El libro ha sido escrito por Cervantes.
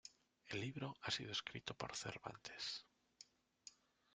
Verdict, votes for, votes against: accepted, 2, 0